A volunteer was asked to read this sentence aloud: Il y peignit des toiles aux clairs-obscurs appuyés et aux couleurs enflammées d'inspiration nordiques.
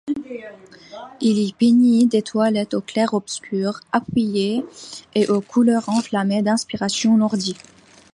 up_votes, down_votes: 2, 0